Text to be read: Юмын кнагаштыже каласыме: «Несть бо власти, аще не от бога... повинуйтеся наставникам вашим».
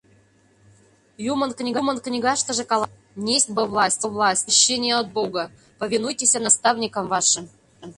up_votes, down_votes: 0, 2